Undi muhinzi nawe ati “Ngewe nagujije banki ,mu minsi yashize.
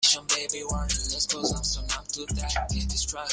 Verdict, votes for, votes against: rejected, 0, 2